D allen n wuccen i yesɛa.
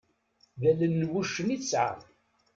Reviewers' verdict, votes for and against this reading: rejected, 1, 2